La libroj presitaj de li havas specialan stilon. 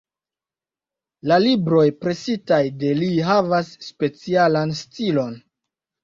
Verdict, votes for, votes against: accepted, 2, 0